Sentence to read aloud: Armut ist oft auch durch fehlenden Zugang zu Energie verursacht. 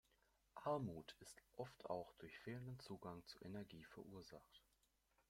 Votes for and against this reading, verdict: 1, 2, rejected